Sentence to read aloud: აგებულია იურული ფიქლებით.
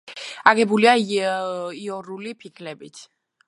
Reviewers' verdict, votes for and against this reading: rejected, 1, 2